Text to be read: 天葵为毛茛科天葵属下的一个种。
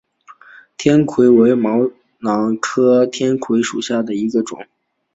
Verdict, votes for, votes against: accepted, 2, 0